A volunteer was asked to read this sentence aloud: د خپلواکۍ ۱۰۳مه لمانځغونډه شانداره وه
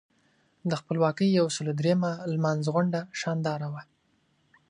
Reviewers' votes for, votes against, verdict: 0, 2, rejected